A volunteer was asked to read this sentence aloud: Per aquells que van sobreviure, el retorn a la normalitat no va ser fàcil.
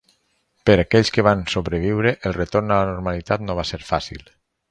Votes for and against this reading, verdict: 4, 0, accepted